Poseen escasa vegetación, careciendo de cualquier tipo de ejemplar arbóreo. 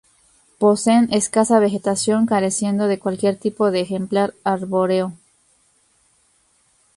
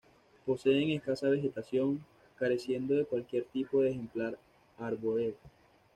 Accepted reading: first